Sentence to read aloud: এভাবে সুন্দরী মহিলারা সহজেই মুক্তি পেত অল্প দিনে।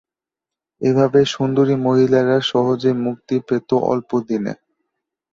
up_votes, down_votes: 2, 0